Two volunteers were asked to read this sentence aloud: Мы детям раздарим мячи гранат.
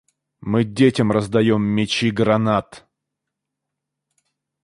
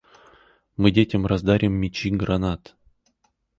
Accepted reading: second